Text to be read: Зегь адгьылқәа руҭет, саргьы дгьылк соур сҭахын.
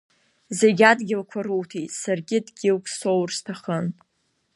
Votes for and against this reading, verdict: 2, 0, accepted